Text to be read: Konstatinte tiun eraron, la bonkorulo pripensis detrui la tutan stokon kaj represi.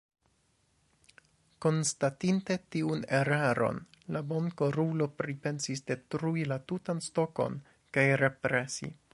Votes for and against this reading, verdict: 2, 1, accepted